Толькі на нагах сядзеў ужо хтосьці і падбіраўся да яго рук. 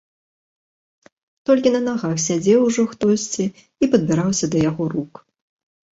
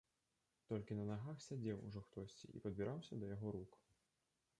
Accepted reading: first